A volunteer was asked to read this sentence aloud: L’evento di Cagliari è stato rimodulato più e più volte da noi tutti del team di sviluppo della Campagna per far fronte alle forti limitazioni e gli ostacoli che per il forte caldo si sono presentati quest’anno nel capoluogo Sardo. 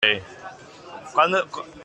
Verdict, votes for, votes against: rejected, 0, 2